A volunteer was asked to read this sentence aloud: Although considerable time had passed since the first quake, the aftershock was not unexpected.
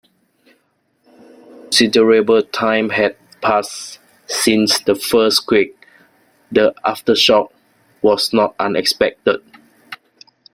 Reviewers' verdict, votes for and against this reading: rejected, 0, 2